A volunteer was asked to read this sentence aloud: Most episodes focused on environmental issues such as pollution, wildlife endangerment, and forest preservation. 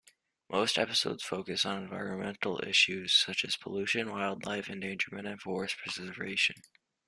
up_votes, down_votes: 2, 0